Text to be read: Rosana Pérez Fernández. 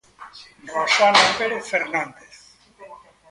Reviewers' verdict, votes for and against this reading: rejected, 1, 2